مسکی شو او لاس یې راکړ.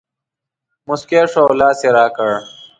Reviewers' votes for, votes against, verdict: 2, 0, accepted